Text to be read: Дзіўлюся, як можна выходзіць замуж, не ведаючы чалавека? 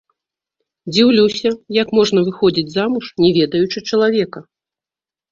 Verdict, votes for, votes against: rejected, 0, 2